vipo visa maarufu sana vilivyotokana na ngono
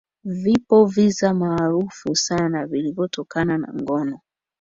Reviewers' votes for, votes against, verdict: 2, 1, accepted